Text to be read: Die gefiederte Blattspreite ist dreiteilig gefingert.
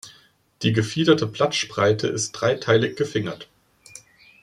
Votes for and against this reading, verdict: 2, 0, accepted